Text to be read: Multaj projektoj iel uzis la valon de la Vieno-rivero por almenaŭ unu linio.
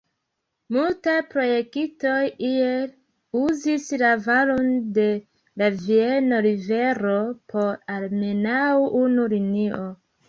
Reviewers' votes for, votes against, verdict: 1, 2, rejected